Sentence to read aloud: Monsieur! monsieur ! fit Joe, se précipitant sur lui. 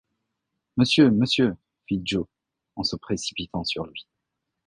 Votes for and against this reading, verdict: 0, 2, rejected